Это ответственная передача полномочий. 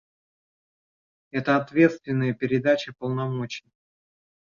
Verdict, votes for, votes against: rejected, 0, 3